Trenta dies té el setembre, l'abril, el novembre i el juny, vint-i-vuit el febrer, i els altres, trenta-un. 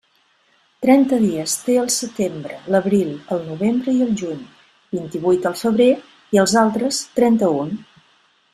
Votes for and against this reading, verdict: 2, 0, accepted